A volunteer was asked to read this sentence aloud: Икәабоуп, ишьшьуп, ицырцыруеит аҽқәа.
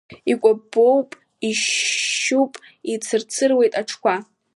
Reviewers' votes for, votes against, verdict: 2, 1, accepted